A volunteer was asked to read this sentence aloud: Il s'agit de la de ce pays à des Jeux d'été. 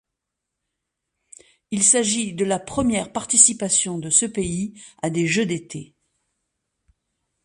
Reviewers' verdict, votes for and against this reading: rejected, 1, 2